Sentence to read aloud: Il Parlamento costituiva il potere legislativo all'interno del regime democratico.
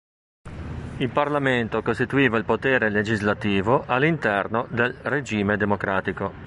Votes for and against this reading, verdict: 0, 2, rejected